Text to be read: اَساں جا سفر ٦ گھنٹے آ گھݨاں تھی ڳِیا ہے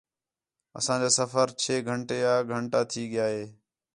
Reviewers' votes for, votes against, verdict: 0, 2, rejected